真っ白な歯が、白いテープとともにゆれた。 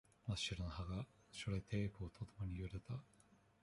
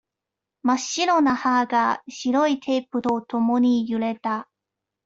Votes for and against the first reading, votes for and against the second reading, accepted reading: 1, 2, 2, 0, second